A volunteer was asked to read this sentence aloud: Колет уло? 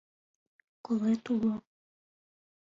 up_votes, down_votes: 2, 1